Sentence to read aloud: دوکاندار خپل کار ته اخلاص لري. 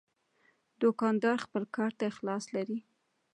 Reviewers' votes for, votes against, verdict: 2, 1, accepted